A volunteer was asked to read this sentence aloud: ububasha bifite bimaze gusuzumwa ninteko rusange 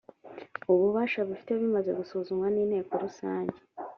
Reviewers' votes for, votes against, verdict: 3, 0, accepted